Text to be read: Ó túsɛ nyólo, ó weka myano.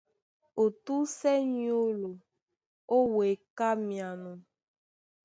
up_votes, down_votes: 2, 0